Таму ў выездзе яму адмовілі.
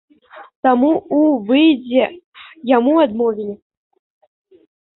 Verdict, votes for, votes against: accepted, 2, 0